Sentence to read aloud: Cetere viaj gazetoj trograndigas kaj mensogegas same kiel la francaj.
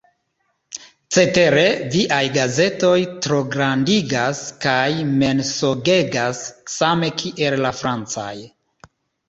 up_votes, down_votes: 2, 0